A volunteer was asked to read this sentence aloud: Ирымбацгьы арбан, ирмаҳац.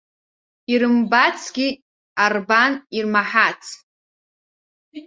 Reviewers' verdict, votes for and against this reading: rejected, 1, 2